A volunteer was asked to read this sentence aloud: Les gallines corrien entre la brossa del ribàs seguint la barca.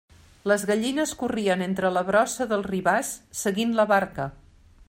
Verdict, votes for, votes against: accepted, 3, 0